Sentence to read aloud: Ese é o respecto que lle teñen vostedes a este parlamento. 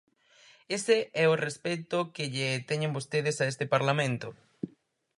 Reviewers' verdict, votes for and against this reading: accepted, 4, 0